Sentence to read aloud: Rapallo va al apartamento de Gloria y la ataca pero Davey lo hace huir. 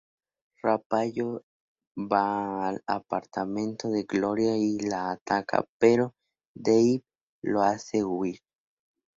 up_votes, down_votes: 2, 0